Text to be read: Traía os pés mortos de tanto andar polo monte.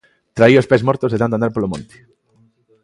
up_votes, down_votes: 2, 0